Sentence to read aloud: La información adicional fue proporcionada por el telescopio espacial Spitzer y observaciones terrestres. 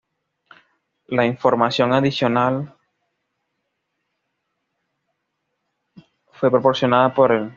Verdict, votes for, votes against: rejected, 1, 2